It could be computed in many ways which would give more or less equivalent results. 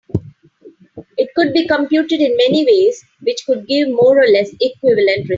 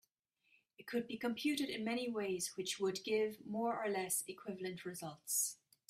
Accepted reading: second